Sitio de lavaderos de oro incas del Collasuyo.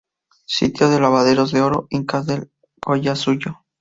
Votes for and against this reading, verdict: 0, 2, rejected